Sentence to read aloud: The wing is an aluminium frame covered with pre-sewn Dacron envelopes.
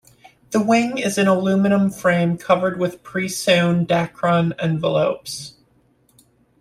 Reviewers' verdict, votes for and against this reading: accepted, 2, 0